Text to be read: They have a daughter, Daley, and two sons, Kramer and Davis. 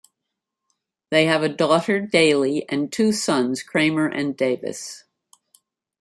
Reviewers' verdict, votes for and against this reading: accepted, 2, 0